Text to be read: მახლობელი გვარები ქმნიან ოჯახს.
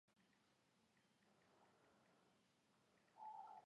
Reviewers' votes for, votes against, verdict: 2, 1, accepted